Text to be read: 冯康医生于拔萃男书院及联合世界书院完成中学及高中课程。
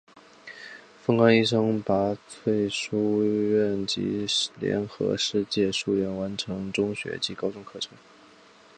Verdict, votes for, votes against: rejected, 1, 2